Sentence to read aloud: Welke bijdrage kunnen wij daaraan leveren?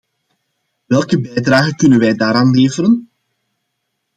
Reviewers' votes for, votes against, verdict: 2, 0, accepted